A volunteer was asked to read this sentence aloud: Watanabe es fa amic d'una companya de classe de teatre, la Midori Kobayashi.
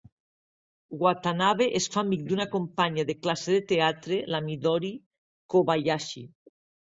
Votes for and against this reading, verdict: 2, 0, accepted